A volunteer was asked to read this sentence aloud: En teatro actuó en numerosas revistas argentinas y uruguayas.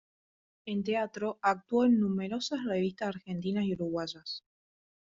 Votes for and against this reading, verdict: 2, 1, accepted